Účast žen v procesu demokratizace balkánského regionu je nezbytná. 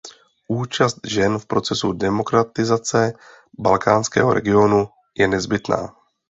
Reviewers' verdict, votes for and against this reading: accepted, 2, 0